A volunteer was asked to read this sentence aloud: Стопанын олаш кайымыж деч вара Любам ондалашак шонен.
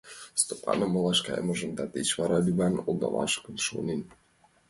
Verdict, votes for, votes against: rejected, 1, 2